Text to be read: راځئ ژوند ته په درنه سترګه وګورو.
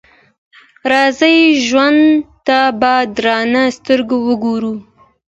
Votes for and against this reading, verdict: 2, 0, accepted